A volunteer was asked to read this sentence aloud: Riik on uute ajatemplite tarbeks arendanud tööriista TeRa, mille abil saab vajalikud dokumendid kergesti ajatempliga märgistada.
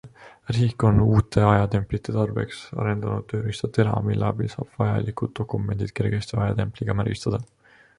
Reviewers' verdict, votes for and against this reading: accepted, 2, 0